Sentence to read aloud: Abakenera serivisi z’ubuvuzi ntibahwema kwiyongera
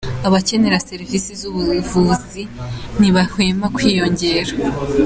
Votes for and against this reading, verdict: 2, 0, accepted